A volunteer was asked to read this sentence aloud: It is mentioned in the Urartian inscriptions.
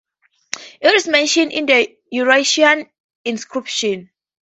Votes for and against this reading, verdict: 2, 6, rejected